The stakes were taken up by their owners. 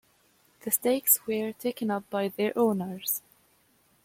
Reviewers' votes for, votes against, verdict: 2, 1, accepted